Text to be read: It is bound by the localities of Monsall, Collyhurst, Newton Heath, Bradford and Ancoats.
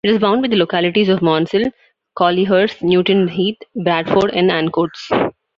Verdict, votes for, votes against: rejected, 0, 2